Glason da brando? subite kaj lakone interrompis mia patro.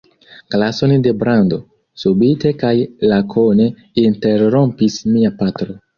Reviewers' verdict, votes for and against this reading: rejected, 0, 2